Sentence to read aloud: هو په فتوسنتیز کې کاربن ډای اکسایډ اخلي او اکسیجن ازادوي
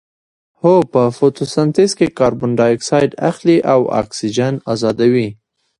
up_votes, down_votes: 2, 1